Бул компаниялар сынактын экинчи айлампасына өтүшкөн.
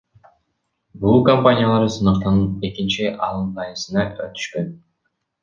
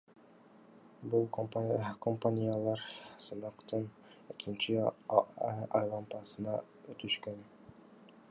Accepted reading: second